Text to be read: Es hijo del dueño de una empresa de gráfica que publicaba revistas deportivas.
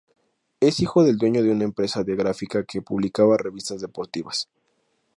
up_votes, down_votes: 2, 0